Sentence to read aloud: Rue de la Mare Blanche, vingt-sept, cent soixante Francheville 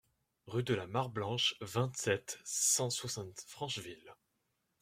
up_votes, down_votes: 2, 0